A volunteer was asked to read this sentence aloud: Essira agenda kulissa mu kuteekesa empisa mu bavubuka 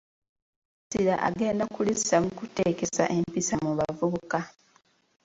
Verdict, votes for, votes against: rejected, 0, 2